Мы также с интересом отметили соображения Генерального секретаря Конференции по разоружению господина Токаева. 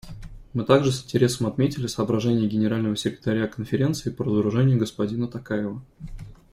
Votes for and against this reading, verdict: 2, 0, accepted